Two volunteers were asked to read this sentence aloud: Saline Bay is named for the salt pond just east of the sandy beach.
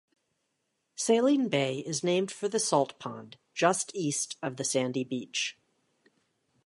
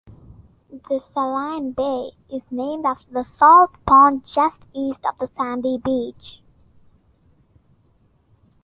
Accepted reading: first